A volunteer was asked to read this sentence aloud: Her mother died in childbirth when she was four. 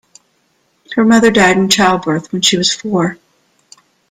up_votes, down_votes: 2, 0